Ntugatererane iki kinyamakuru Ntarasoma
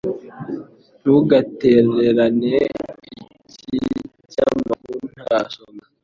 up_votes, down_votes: 1, 2